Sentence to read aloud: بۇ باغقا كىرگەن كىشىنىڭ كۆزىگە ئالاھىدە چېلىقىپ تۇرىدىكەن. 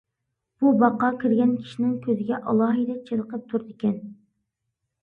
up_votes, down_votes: 2, 0